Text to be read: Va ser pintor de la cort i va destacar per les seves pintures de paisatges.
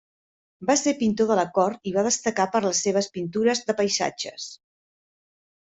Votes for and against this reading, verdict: 1, 2, rejected